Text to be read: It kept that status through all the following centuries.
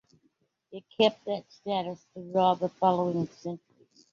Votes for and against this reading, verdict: 2, 1, accepted